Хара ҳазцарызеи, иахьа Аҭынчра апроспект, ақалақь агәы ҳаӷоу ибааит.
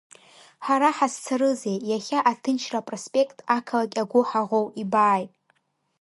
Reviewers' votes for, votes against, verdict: 3, 0, accepted